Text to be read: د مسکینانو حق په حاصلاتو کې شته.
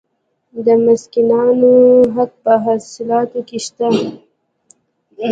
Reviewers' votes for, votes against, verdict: 1, 2, rejected